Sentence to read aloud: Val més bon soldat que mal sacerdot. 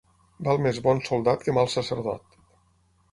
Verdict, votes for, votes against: accepted, 6, 0